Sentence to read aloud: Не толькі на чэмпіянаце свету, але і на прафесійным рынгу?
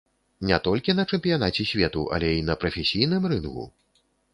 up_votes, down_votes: 4, 0